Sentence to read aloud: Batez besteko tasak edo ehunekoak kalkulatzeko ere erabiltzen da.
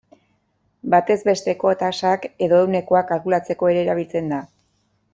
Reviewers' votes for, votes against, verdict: 2, 0, accepted